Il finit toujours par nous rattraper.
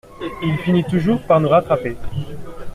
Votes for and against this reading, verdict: 2, 1, accepted